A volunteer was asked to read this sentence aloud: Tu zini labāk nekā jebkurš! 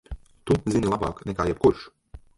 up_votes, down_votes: 0, 2